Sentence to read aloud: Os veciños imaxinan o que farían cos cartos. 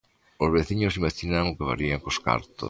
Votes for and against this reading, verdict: 1, 2, rejected